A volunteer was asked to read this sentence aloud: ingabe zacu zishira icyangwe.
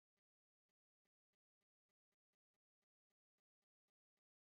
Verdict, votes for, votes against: rejected, 0, 2